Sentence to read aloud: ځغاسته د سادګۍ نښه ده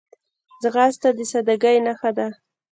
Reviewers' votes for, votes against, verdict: 1, 2, rejected